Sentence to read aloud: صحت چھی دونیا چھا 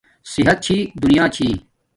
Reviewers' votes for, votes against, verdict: 1, 2, rejected